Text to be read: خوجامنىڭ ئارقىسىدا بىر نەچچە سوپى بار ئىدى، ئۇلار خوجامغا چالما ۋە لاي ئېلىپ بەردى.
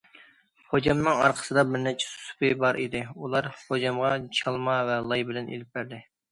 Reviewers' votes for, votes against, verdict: 0, 2, rejected